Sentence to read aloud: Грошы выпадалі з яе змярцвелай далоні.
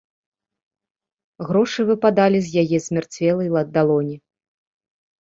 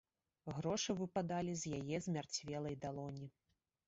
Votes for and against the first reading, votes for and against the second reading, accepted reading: 1, 2, 2, 0, second